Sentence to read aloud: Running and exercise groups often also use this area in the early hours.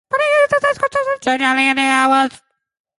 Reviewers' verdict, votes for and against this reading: rejected, 0, 2